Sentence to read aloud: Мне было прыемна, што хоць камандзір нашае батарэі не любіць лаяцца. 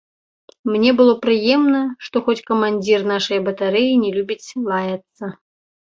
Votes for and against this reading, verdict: 1, 2, rejected